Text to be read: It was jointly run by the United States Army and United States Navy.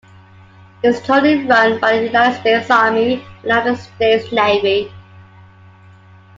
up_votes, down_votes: 1, 2